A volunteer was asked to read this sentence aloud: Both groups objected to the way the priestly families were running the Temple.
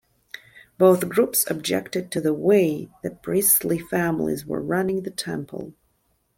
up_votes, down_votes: 2, 0